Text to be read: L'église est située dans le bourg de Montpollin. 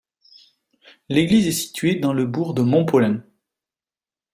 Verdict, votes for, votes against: accepted, 2, 0